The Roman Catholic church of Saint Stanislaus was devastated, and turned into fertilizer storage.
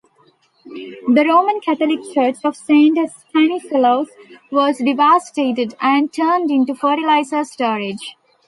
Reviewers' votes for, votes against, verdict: 2, 1, accepted